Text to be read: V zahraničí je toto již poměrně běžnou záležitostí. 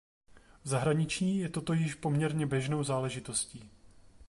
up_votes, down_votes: 1, 2